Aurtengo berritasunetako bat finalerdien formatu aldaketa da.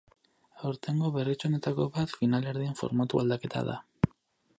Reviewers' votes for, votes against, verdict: 0, 4, rejected